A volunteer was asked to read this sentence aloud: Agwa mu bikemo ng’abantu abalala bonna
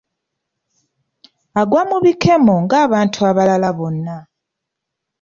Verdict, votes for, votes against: accepted, 2, 0